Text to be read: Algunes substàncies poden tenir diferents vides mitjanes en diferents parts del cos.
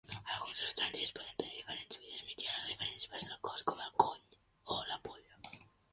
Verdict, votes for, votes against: rejected, 0, 2